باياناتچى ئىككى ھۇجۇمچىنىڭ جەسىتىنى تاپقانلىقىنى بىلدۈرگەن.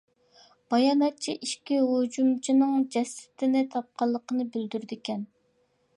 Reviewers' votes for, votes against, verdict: 0, 2, rejected